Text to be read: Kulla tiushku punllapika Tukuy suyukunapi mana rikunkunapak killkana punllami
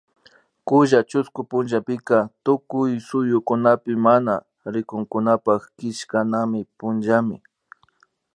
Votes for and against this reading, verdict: 0, 2, rejected